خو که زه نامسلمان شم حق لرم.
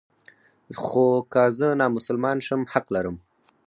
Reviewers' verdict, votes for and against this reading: rejected, 2, 4